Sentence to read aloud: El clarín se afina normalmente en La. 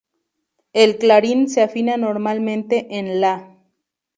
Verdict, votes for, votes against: accepted, 2, 0